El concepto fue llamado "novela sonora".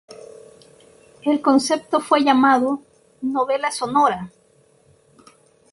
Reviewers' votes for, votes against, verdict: 2, 0, accepted